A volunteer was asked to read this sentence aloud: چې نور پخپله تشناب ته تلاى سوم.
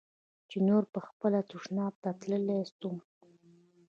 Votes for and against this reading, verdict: 0, 2, rejected